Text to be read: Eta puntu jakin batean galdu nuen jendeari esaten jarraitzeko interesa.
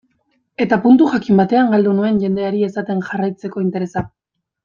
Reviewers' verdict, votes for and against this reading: accepted, 2, 0